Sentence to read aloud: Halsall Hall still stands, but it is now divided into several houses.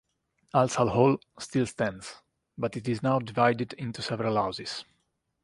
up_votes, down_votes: 2, 0